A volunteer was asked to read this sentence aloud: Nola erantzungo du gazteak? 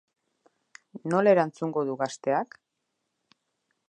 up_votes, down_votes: 1, 2